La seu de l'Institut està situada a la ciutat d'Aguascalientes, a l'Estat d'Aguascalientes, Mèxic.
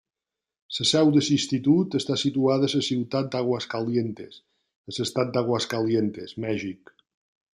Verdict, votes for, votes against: accepted, 2, 1